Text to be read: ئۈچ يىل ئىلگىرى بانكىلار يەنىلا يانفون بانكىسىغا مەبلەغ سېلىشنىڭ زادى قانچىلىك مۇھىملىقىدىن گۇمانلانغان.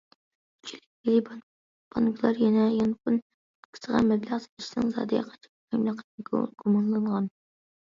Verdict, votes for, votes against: rejected, 0, 2